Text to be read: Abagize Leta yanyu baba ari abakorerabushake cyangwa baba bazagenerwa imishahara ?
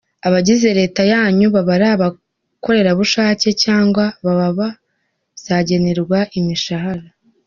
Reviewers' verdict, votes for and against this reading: accepted, 2, 0